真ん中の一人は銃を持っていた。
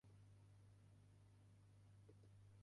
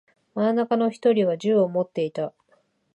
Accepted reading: second